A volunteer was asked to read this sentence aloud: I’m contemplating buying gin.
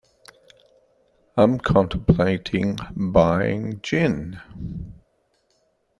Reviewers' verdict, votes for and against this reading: accepted, 2, 1